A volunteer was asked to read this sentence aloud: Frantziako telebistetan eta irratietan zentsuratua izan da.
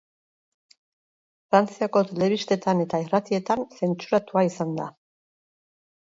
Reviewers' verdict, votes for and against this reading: rejected, 0, 2